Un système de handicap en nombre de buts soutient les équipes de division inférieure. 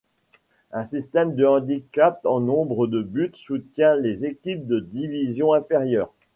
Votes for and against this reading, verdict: 2, 0, accepted